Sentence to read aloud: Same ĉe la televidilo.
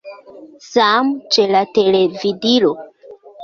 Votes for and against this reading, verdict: 2, 0, accepted